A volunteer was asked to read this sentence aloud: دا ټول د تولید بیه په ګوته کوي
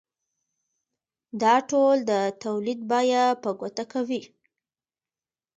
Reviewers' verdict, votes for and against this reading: accepted, 2, 0